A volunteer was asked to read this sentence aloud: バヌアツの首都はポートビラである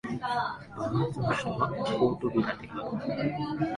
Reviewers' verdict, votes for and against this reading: rejected, 1, 2